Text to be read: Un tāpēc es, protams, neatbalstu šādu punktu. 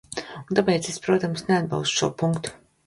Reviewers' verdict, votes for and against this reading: rejected, 0, 2